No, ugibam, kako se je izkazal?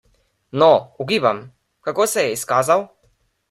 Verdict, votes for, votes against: accepted, 2, 0